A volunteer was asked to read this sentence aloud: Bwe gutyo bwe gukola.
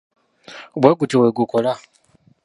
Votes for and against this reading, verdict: 0, 2, rejected